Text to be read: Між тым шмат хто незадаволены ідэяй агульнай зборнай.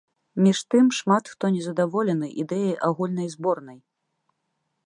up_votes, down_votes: 2, 1